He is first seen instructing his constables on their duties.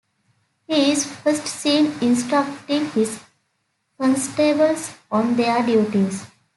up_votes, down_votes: 2, 1